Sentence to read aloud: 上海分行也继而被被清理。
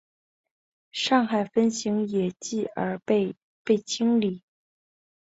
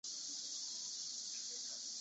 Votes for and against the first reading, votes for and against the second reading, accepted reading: 2, 0, 1, 2, first